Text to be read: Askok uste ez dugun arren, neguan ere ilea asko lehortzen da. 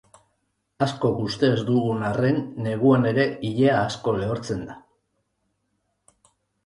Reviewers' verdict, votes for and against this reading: accepted, 2, 0